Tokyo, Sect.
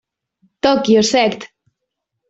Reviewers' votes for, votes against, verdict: 2, 0, accepted